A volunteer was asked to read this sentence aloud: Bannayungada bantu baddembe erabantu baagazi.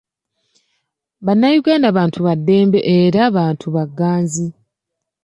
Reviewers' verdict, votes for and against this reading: rejected, 1, 2